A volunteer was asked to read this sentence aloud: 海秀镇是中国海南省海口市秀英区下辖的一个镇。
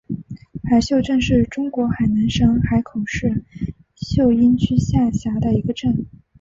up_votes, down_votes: 6, 1